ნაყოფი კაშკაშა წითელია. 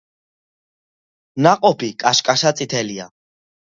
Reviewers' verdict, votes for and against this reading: accepted, 2, 1